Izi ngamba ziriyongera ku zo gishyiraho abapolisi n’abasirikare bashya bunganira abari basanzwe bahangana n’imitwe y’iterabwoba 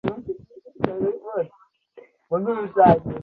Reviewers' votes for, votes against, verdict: 0, 2, rejected